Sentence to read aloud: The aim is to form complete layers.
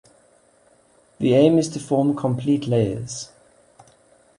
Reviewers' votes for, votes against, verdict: 2, 0, accepted